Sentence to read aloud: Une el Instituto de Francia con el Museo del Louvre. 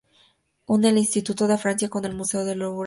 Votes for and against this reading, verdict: 2, 0, accepted